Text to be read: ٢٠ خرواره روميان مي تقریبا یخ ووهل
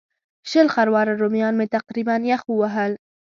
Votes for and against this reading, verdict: 0, 2, rejected